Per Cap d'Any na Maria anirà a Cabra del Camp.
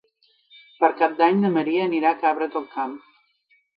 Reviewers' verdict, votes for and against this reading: accepted, 2, 0